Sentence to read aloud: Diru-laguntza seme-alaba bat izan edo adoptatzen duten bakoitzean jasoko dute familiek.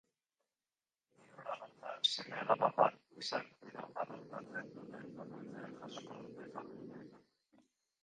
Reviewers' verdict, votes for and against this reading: rejected, 0, 5